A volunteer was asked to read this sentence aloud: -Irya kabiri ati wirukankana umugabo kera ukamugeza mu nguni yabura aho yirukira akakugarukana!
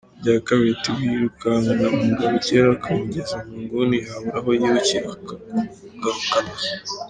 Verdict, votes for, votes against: rejected, 1, 2